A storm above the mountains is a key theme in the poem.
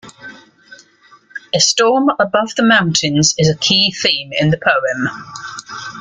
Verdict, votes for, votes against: accepted, 2, 0